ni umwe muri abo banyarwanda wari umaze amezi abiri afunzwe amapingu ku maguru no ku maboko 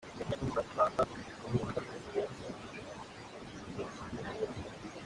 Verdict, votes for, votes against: rejected, 0, 2